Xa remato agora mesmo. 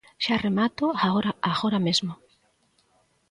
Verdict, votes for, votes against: rejected, 0, 2